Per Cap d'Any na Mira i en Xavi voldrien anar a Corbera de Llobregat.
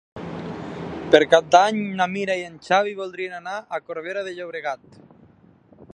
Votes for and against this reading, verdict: 3, 0, accepted